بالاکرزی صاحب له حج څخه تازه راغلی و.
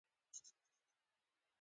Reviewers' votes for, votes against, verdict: 2, 0, accepted